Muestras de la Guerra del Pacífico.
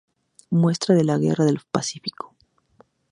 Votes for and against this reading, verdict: 0, 2, rejected